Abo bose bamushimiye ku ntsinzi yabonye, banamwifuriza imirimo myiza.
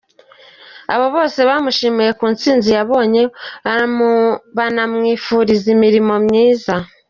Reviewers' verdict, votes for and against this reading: rejected, 1, 2